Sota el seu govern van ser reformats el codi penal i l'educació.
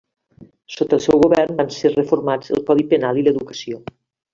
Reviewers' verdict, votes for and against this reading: accepted, 2, 0